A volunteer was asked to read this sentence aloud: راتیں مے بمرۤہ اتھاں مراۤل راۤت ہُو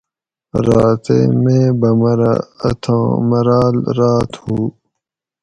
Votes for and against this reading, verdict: 4, 0, accepted